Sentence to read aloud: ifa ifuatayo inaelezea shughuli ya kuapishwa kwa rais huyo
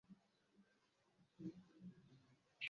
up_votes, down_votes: 0, 2